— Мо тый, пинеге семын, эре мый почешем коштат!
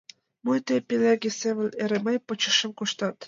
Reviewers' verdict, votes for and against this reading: accepted, 2, 0